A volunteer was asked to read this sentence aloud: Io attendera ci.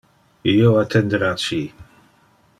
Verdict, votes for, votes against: rejected, 1, 2